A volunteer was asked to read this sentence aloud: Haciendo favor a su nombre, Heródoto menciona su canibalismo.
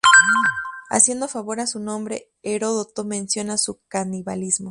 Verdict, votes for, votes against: rejected, 2, 2